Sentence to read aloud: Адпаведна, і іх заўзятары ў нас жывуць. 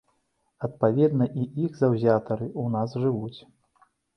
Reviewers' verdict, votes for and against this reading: accepted, 2, 0